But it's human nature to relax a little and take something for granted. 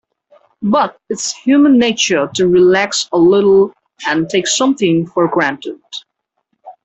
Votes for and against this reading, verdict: 2, 0, accepted